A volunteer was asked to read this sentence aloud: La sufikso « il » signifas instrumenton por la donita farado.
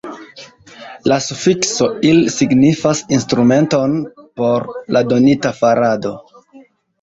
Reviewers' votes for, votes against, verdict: 2, 0, accepted